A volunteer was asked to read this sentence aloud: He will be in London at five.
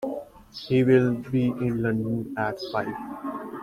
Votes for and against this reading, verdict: 2, 0, accepted